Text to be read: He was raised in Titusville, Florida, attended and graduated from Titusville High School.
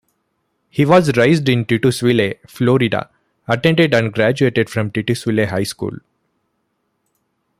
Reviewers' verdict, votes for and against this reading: rejected, 0, 2